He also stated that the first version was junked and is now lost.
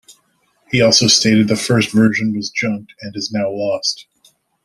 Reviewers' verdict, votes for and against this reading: rejected, 1, 2